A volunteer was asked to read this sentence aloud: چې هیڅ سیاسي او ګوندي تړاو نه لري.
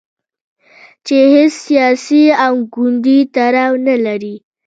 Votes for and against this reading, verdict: 2, 0, accepted